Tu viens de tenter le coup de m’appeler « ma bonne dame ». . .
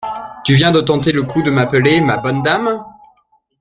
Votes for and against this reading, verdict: 0, 2, rejected